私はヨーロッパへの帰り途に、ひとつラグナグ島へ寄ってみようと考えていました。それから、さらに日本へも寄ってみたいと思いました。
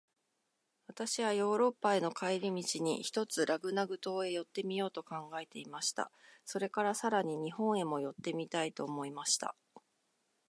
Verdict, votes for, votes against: accepted, 2, 0